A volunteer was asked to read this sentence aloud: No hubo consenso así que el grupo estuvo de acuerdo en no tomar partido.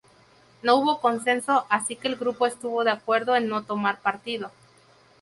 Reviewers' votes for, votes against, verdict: 0, 2, rejected